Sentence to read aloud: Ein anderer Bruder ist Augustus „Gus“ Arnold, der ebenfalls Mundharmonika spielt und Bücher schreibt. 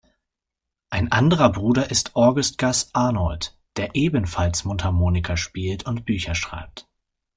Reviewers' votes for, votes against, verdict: 0, 2, rejected